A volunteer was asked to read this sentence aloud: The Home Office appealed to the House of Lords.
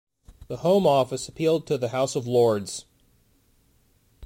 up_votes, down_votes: 1, 2